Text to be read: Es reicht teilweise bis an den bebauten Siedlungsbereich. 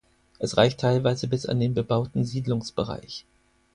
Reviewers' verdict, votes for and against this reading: accepted, 4, 0